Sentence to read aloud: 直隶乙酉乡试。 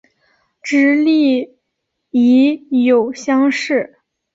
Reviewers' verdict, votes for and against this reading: accepted, 2, 0